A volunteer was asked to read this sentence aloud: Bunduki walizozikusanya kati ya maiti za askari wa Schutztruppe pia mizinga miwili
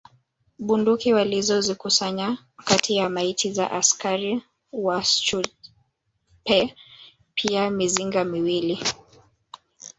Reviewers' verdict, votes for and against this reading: rejected, 0, 2